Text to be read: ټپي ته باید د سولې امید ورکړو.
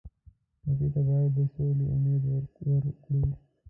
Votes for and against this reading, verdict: 0, 2, rejected